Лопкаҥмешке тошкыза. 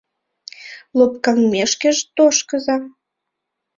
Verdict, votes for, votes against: rejected, 0, 2